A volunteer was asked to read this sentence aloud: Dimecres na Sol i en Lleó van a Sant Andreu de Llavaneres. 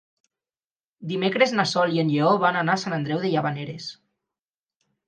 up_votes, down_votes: 0, 4